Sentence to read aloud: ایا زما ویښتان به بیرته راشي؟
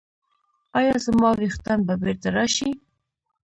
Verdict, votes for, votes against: rejected, 1, 2